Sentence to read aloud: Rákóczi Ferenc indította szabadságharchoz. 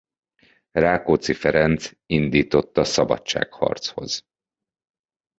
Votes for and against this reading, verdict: 2, 0, accepted